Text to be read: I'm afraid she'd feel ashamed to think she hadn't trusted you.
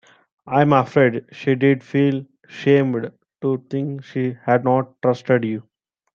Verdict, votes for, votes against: rejected, 0, 2